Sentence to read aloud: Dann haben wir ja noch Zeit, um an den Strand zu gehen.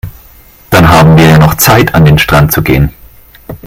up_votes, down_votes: 0, 2